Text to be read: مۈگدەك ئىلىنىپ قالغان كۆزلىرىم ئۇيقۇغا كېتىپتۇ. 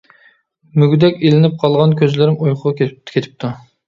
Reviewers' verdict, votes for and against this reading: rejected, 1, 2